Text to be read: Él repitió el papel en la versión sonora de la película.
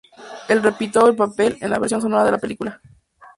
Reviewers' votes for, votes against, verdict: 2, 0, accepted